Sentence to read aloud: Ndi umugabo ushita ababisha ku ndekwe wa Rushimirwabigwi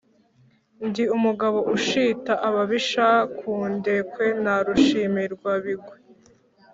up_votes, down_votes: 0, 2